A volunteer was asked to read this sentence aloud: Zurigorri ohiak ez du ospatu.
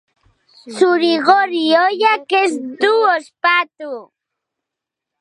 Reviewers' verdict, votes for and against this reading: accepted, 2, 0